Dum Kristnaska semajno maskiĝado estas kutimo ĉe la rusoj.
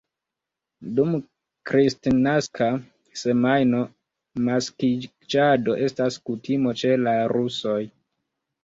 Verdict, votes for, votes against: rejected, 1, 2